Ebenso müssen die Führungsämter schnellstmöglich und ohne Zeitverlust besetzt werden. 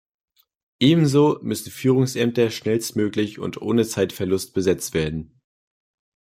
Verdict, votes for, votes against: rejected, 1, 2